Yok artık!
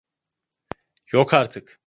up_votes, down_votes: 2, 0